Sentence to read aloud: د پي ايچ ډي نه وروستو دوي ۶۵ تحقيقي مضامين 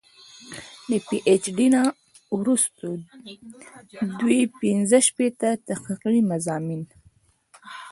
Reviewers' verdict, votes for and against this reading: rejected, 0, 2